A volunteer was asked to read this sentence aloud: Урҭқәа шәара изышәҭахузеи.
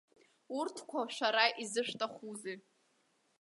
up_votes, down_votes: 2, 0